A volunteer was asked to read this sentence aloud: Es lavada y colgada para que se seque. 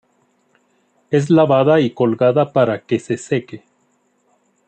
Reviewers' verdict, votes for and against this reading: rejected, 1, 2